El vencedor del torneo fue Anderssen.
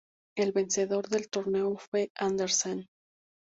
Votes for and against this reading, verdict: 4, 0, accepted